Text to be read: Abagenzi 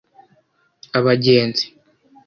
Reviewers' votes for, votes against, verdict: 2, 0, accepted